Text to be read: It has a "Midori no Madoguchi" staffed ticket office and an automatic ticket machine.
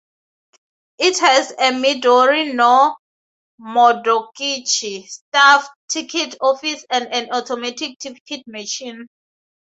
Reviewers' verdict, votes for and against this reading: rejected, 2, 2